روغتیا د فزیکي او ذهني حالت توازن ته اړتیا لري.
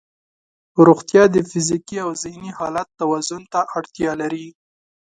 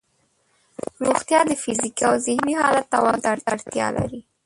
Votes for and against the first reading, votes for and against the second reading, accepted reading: 2, 0, 1, 3, first